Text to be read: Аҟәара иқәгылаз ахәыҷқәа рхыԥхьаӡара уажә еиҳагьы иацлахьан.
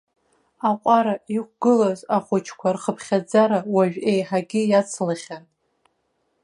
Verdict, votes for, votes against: accepted, 2, 1